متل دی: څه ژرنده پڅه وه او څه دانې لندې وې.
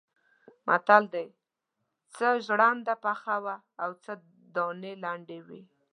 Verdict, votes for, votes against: rejected, 0, 2